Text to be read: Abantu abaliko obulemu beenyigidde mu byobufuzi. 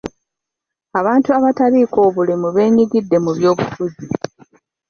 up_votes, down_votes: 0, 2